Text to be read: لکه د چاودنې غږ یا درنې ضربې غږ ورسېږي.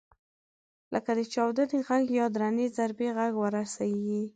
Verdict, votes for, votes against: accepted, 2, 0